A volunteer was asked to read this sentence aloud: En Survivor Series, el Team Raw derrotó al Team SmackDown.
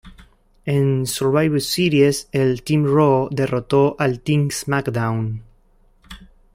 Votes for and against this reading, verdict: 2, 1, accepted